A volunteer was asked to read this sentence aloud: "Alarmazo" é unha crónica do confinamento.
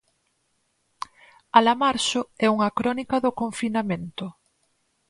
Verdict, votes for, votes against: rejected, 0, 4